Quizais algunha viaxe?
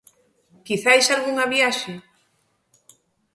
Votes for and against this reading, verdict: 2, 0, accepted